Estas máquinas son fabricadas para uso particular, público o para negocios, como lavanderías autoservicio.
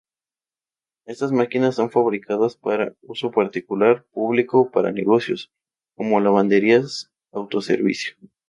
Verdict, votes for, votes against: rejected, 0, 2